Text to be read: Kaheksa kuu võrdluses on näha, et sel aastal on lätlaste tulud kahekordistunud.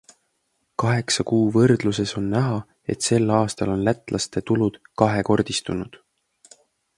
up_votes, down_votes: 2, 0